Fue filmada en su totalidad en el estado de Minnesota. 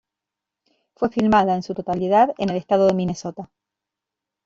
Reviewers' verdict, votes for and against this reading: accepted, 2, 0